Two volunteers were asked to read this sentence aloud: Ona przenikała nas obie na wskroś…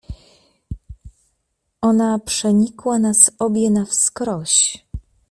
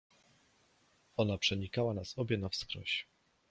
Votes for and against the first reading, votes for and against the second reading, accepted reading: 1, 2, 2, 0, second